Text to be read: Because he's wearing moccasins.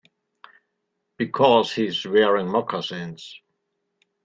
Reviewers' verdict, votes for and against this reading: accepted, 2, 1